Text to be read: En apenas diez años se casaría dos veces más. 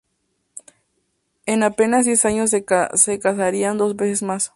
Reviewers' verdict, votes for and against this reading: rejected, 0, 2